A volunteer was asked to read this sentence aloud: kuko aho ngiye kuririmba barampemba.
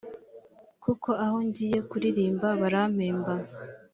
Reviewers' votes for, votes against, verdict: 3, 0, accepted